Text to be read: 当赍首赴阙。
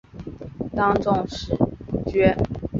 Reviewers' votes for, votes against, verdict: 5, 3, accepted